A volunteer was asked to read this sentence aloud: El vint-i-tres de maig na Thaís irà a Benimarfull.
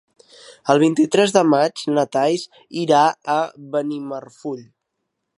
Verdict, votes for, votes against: accepted, 3, 0